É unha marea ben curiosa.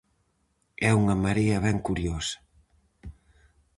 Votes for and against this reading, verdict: 4, 0, accepted